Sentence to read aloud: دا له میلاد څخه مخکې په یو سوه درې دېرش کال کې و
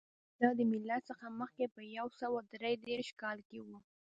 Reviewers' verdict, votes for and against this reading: accepted, 2, 1